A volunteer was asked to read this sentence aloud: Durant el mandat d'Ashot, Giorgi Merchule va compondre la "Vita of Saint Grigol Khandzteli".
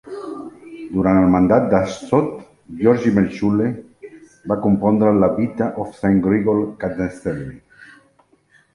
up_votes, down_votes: 0, 2